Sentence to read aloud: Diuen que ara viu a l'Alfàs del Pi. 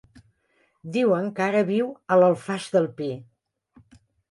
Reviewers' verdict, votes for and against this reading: rejected, 1, 2